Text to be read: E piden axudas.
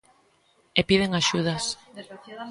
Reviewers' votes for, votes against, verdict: 0, 2, rejected